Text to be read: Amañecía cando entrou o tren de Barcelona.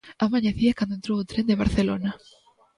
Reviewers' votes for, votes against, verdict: 1, 2, rejected